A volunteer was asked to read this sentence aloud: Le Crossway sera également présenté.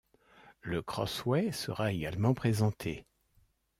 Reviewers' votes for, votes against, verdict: 2, 0, accepted